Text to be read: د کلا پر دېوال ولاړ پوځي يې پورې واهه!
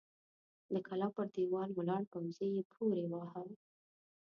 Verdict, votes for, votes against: accepted, 2, 0